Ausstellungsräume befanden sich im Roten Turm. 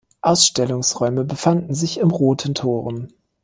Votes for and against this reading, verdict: 0, 2, rejected